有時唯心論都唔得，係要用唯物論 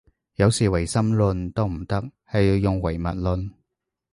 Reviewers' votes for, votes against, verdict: 4, 0, accepted